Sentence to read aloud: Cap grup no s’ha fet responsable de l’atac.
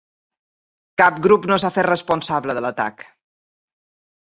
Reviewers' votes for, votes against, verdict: 2, 0, accepted